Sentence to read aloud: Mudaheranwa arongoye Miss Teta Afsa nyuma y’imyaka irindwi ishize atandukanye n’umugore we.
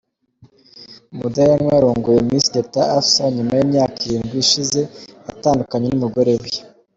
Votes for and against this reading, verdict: 2, 0, accepted